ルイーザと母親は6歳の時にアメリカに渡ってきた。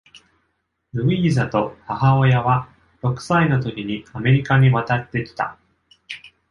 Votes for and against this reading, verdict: 0, 2, rejected